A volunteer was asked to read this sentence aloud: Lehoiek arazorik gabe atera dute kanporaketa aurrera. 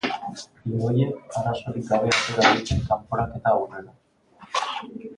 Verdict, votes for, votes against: accepted, 2, 1